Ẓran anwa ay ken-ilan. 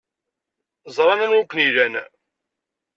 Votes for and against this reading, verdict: 2, 0, accepted